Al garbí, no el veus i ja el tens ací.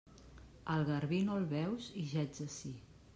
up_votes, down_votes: 1, 2